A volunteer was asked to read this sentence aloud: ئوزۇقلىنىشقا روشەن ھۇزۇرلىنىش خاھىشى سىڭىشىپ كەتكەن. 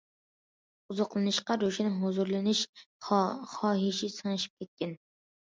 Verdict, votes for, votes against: rejected, 1, 2